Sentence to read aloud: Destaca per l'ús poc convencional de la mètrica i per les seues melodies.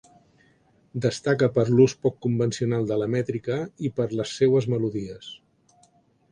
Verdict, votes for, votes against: accepted, 3, 0